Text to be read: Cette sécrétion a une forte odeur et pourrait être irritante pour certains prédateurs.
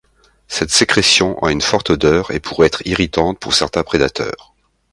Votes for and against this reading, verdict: 2, 0, accepted